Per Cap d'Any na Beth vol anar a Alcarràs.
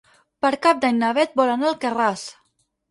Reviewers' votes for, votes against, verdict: 4, 0, accepted